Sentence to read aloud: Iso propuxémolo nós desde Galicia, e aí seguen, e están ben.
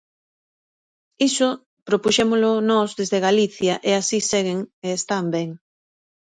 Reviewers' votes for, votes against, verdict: 0, 2, rejected